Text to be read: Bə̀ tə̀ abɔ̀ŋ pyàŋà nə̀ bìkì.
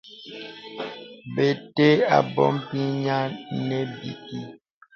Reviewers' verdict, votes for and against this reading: rejected, 0, 2